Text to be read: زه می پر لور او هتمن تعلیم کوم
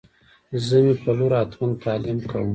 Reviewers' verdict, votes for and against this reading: accepted, 2, 1